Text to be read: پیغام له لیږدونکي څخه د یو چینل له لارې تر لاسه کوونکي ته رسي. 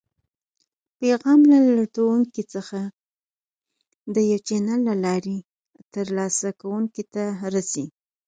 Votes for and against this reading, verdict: 0, 4, rejected